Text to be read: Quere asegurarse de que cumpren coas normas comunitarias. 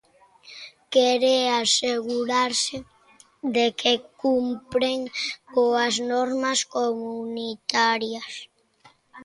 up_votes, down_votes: 0, 2